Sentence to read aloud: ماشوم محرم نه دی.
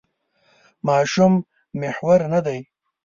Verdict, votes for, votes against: rejected, 1, 2